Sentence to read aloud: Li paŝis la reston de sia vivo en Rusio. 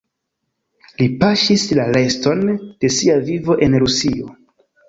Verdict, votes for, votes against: accepted, 2, 0